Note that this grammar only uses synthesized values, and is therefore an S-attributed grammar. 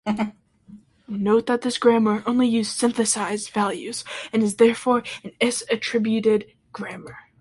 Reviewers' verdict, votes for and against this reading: rejected, 0, 2